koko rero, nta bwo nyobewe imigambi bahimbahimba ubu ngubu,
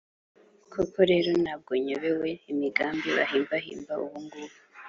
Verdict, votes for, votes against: accepted, 2, 0